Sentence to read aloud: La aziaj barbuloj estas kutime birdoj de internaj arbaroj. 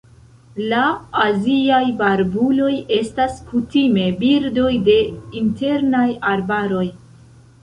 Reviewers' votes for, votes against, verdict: 1, 2, rejected